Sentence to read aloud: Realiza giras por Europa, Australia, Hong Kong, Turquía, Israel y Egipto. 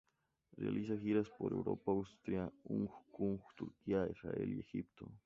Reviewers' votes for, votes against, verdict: 0, 2, rejected